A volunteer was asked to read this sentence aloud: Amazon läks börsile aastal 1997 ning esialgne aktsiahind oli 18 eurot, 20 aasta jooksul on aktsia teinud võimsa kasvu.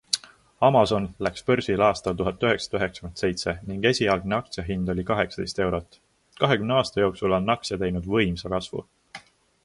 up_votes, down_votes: 0, 2